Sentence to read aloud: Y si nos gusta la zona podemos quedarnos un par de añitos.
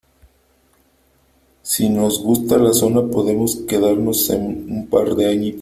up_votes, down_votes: 0, 2